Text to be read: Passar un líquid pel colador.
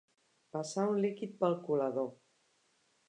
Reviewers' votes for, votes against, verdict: 7, 0, accepted